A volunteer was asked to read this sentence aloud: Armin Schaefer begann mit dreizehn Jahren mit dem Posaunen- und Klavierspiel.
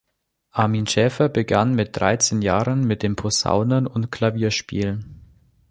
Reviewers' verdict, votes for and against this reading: accepted, 2, 0